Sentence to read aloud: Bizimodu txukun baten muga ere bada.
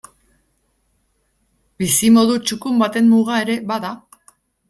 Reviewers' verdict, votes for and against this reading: accepted, 2, 0